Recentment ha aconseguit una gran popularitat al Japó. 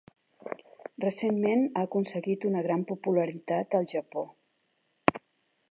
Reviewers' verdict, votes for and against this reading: accepted, 2, 0